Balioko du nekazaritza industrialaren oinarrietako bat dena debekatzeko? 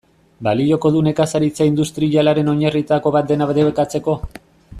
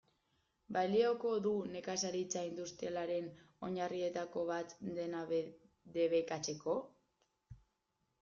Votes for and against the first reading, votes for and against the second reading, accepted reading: 2, 1, 0, 2, first